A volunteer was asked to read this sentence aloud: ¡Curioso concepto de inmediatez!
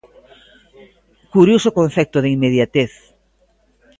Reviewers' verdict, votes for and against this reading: accepted, 2, 0